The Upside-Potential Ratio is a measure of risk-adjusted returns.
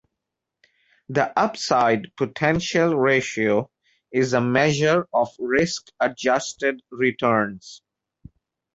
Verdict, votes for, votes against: accepted, 2, 0